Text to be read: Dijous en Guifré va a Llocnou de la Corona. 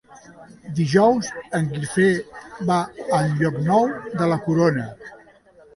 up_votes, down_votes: 1, 2